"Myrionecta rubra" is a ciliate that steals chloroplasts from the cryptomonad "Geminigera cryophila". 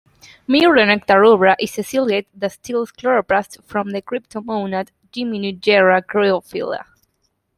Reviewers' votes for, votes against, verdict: 0, 2, rejected